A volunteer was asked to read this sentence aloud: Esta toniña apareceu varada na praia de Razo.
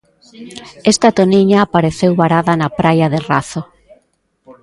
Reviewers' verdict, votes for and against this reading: rejected, 0, 2